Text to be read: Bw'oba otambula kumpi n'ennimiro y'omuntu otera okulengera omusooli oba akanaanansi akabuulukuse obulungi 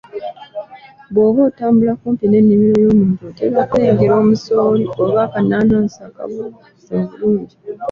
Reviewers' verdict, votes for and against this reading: accepted, 2, 0